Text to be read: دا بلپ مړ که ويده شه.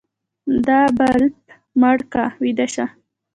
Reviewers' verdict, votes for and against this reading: rejected, 0, 2